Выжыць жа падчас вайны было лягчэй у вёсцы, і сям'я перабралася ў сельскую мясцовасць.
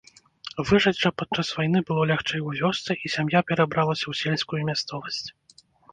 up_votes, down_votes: 2, 0